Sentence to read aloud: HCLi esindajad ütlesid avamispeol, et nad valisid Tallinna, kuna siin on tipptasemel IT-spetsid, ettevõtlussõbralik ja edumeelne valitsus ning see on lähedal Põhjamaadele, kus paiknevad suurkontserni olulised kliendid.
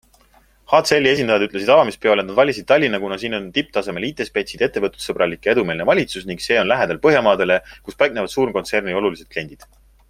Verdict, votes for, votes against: accepted, 3, 0